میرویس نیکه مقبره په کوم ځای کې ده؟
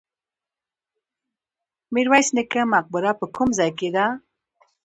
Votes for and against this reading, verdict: 2, 1, accepted